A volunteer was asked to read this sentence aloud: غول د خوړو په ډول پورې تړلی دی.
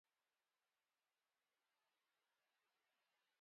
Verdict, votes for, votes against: rejected, 0, 2